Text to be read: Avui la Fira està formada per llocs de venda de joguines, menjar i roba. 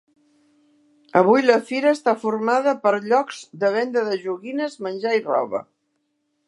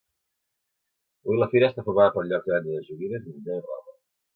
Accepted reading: first